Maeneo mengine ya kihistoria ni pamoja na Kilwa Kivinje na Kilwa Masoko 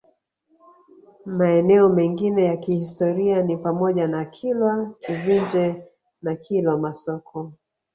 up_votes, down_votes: 1, 2